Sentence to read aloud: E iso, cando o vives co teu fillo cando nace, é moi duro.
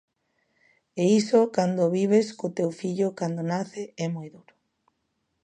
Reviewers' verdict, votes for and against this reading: accepted, 2, 1